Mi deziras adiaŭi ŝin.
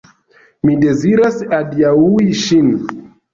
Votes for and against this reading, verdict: 0, 2, rejected